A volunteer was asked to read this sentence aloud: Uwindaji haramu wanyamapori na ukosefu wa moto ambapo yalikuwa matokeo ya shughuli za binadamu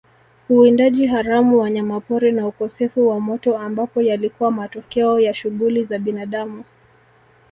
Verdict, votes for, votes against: accepted, 2, 0